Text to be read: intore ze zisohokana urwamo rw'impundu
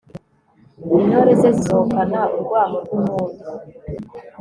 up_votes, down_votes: 3, 0